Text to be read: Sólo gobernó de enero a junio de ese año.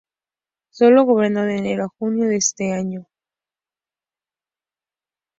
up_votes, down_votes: 0, 2